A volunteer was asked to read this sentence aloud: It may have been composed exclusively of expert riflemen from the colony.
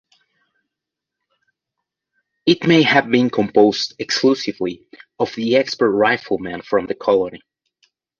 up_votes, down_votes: 1, 2